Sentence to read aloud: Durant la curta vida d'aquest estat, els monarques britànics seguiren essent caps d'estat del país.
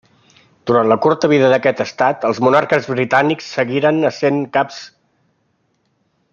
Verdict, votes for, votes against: rejected, 0, 2